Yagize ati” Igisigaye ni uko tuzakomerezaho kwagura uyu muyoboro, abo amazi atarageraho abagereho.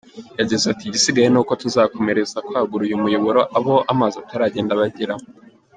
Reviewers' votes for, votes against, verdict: 0, 2, rejected